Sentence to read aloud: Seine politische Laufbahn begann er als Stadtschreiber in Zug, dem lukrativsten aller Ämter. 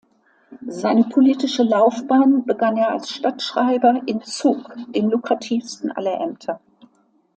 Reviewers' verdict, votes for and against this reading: accepted, 2, 0